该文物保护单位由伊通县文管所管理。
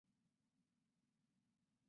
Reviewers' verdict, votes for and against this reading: rejected, 0, 4